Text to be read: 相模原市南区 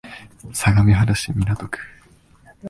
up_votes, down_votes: 2, 0